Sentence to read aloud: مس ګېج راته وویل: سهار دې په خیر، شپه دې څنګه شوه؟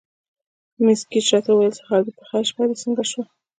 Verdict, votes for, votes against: rejected, 0, 2